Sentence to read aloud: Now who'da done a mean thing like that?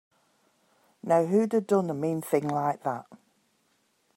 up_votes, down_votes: 2, 0